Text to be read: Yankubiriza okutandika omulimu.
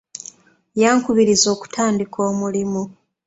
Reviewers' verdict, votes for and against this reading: accepted, 2, 0